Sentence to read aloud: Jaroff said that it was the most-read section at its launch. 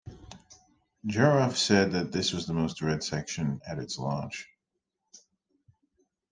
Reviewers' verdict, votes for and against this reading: rejected, 1, 2